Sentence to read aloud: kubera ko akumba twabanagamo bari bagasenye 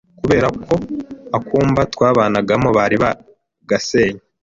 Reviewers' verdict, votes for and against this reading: accepted, 2, 1